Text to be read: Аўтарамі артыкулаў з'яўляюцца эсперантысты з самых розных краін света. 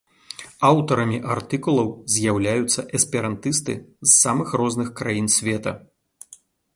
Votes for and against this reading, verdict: 2, 0, accepted